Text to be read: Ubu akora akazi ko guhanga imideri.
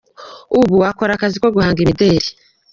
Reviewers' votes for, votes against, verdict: 2, 0, accepted